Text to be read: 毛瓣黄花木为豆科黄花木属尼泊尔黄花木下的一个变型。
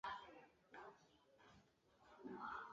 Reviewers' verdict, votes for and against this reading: rejected, 0, 2